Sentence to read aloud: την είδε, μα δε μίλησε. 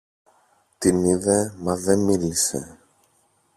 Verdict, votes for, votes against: rejected, 0, 2